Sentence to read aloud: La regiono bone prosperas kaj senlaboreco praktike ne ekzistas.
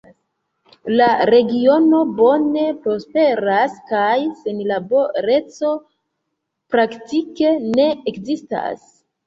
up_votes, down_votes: 1, 2